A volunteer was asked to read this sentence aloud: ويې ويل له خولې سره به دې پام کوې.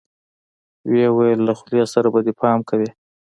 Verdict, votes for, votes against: accepted, 2, 0